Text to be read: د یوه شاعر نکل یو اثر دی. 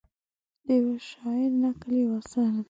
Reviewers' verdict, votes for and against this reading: accepted, 2, 0